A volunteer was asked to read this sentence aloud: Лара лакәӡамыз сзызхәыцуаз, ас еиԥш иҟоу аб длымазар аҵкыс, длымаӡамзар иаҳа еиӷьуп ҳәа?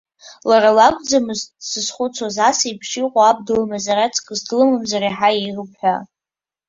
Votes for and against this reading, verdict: 2, 1, accepted